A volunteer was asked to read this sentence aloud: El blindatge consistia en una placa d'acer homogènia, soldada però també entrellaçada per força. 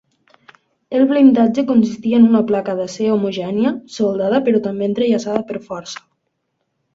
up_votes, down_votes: 2, 0